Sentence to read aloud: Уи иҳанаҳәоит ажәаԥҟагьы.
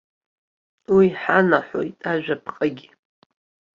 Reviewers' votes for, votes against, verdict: 2, 0, accepted